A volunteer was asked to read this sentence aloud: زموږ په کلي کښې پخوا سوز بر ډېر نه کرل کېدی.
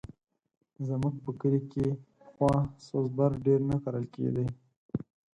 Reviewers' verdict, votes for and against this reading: rejected, 0, 4